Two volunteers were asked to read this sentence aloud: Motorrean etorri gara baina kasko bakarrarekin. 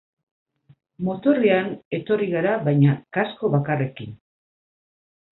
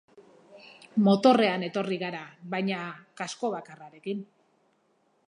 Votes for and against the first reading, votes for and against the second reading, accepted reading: 2, 4, 8, 0, second